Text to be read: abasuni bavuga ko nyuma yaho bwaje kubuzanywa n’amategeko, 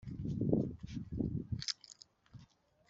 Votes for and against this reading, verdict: 0, 3, rejected